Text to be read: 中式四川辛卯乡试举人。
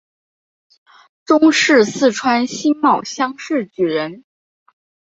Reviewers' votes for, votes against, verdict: 2, 0, accepted